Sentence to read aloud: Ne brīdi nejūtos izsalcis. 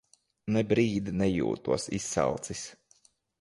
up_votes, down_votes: 2, 0